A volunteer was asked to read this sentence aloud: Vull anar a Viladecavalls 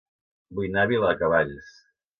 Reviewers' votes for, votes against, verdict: 0, 2, rejected